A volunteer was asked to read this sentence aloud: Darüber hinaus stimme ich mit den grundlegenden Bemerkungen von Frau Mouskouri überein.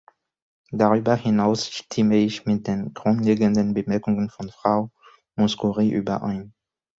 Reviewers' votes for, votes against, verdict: 2, 0, accepted